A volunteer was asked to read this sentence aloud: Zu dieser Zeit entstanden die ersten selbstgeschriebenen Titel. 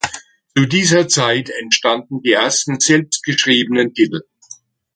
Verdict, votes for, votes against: rejected, 1, 2